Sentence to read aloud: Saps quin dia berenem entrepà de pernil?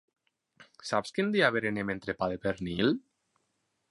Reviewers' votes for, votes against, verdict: 4, 0, accepted